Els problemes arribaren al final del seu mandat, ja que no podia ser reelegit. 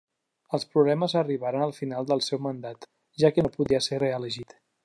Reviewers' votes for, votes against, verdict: 2, 0, accepted